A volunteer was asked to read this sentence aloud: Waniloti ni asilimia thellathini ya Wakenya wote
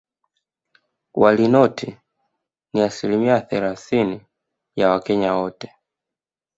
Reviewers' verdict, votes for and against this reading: accepted, 2, 0